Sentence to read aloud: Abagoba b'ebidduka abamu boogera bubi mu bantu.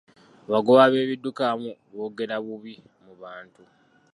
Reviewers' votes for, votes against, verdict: 2, 0, accepted